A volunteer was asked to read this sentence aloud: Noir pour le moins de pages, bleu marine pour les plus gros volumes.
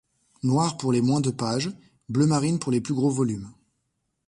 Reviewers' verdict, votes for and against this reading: accepted, 2, 1